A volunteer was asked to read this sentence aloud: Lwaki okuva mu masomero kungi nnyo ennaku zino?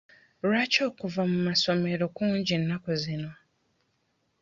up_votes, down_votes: 1, 2